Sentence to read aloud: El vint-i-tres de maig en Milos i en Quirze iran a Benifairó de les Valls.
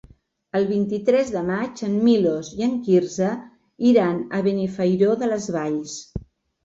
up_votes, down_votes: 4, 0